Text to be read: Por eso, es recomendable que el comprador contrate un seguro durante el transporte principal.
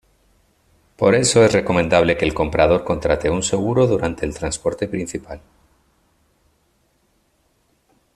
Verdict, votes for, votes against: accepted, 2, 0